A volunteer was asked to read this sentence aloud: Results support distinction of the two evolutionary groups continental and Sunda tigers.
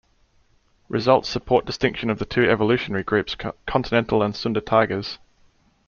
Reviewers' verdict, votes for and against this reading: rejected, 0, 2